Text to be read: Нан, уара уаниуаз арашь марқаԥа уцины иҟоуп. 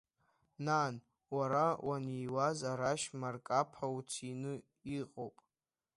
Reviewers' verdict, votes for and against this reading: accepted, 2, 1